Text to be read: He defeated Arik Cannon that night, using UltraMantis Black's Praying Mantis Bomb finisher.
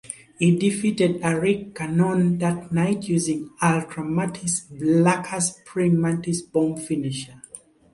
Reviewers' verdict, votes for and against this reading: rejected, 0, 2